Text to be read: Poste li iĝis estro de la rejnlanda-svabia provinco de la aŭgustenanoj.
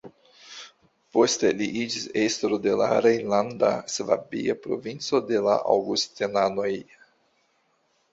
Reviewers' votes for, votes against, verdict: 2, 0, accepted